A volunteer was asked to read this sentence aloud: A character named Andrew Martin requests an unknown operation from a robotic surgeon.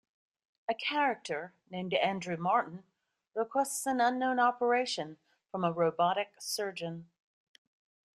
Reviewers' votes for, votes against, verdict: 2, 0, accepted